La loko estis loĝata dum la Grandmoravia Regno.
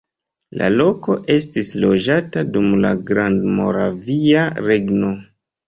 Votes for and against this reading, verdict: 1, 2, rejected